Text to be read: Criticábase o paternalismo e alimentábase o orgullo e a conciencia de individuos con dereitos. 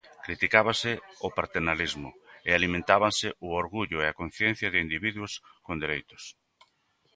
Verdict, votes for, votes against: rejected, 0, 2